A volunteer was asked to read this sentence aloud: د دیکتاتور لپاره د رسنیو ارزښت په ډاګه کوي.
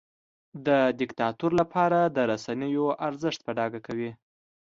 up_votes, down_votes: 2, 0